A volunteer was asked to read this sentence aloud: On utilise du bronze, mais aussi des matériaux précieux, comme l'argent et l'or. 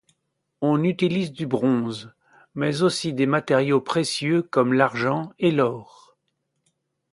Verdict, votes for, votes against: accepted, 2, 0